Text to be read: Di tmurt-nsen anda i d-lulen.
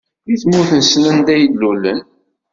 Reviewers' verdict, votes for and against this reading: rejected, 1, 2